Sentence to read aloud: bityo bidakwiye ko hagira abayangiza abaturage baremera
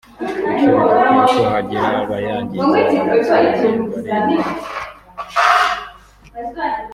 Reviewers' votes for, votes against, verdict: 1, 2, rejected